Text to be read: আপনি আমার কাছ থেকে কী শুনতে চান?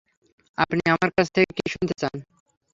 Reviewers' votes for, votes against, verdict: 3, 0, accepted